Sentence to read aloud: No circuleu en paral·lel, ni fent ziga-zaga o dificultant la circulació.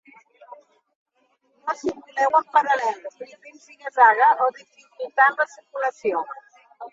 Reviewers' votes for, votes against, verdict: 0, 2, rejected